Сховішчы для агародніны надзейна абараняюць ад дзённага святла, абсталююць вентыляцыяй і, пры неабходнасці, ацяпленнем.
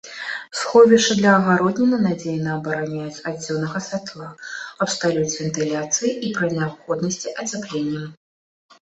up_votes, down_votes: 3, 0